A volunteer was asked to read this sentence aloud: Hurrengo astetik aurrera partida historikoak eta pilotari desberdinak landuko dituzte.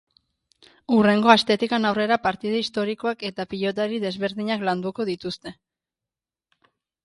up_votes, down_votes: 0, 2